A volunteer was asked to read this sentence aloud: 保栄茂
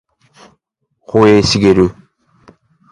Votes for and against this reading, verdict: 2, 0, accepted